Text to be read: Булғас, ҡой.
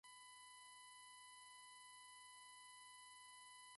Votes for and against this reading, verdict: 0, 2, rejected